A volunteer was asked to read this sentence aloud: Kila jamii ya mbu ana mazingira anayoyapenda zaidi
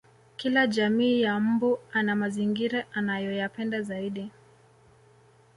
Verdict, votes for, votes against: accepted, 2, 1